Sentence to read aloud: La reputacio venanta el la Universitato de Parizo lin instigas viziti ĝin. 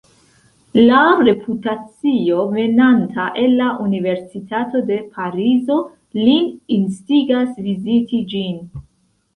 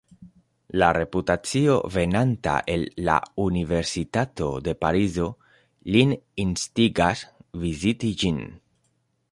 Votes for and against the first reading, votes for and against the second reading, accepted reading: 0, 2, 2, 0, second